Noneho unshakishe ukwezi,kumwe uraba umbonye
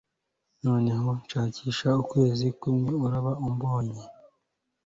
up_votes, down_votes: 2, 0